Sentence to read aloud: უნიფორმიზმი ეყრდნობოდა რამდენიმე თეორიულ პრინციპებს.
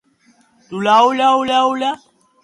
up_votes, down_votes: 0, 2